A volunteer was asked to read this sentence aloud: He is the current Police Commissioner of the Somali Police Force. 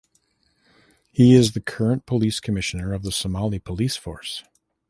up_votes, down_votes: 3, 0